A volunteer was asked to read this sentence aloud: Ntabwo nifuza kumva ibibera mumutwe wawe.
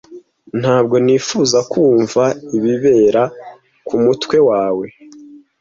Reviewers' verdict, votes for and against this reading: rejected, 0, 2